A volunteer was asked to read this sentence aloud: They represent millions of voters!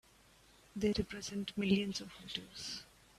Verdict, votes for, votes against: rejected, 1, 2